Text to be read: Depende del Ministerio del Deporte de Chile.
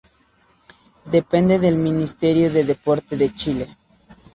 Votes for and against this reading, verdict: 0, 2, rejected